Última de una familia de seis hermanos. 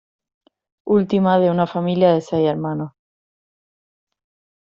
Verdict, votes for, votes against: accepted, 2, 0